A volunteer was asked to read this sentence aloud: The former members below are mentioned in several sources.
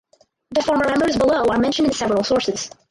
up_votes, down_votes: 0, 4